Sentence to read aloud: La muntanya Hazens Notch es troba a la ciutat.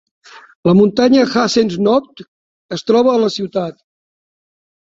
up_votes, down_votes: 2, 0